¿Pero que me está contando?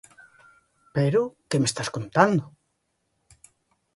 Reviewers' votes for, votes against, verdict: 0, 2, rejected